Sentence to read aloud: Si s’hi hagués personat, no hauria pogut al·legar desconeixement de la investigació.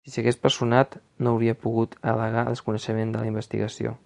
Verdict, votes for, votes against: rejected, 1, 2